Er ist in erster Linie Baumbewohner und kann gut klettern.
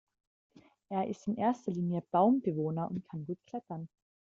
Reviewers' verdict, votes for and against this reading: rejected, 1, 2